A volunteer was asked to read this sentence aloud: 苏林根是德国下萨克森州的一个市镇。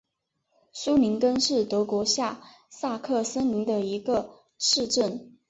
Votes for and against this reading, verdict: 1, 3, rejected